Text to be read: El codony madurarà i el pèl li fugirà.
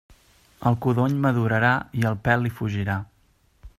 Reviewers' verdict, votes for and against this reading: accepted, 3, 0